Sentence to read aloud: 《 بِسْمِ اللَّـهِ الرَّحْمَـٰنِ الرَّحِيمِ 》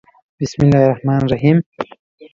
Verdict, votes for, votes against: rejected, 1, 2